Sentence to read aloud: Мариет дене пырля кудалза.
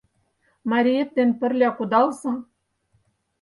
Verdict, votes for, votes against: rejected, 2, 4